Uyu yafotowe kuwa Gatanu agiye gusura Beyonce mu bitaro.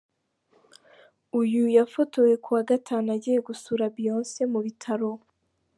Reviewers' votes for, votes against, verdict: 2, 0, accepted